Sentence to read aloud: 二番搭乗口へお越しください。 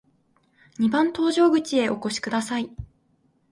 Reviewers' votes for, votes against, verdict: 3, 1, accepted